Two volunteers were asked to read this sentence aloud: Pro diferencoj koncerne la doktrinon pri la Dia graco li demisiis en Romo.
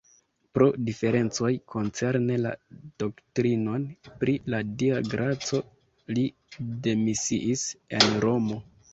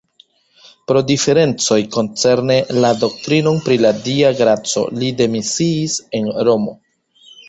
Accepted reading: second